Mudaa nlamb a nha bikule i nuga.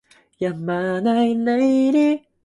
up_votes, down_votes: 0, 2